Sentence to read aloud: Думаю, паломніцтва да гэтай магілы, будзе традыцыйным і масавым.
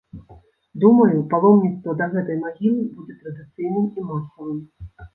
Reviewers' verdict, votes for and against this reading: rejected, 1, 2